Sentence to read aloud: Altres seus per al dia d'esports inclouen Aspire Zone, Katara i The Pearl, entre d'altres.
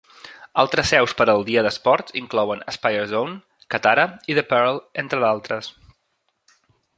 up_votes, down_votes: 2, 0